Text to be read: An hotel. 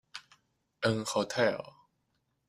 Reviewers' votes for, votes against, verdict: 2, 0, accepted